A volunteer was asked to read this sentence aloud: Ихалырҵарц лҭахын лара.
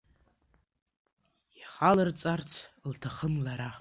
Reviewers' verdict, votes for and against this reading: accepted, 2, 1